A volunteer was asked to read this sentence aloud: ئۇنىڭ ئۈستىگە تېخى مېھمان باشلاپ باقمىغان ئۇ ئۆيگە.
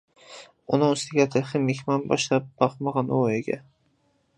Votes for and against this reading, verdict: 2, 0, accepted